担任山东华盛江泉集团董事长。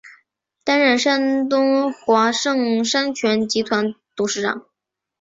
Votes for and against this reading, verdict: 0, 3, rejected